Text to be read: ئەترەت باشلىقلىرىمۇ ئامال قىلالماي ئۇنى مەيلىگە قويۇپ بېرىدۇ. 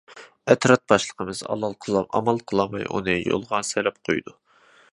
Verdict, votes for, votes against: rejected, 0, 2